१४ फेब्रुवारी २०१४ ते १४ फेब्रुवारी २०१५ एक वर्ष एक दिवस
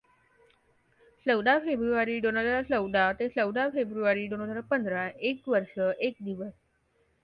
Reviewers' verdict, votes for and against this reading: rejected, 0, 2